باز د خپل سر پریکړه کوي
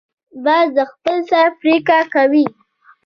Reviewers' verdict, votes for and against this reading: accepted, 2, 0